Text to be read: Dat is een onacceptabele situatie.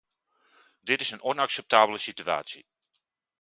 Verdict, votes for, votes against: rejected, 1, 2